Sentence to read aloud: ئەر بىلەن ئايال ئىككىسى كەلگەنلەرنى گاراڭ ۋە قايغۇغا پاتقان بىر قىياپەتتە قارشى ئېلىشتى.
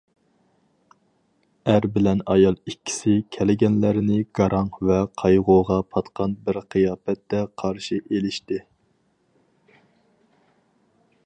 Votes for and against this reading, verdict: 4, 0, accepted